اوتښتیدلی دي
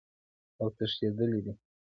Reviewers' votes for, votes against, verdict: 0, 2, rejected